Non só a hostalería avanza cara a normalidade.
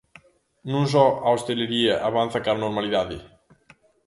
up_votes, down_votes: 0, 2